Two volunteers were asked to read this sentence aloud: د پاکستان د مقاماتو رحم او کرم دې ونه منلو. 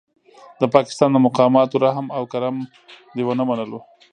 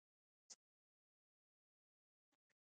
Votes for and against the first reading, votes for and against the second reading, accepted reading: 2, 0, 1, 2, first